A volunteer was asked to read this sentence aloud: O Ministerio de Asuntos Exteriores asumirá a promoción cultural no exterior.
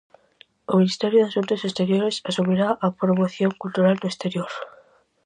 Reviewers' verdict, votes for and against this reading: accepted, 4, 0